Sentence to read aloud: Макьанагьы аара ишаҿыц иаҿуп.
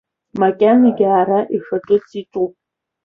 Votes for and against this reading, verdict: 2, 0, accepted